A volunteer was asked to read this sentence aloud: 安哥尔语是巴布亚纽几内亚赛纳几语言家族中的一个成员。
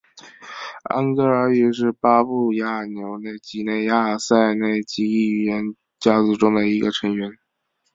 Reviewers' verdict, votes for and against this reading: rejected, 1, 2